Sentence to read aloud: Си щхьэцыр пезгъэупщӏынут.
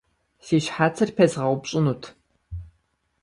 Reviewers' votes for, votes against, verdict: 2, 0, accepted